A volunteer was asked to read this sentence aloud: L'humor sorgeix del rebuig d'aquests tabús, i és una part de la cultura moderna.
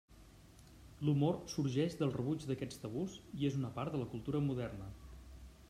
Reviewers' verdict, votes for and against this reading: accepted, 2, 0